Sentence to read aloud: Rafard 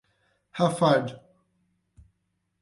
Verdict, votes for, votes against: accepted, 8, 4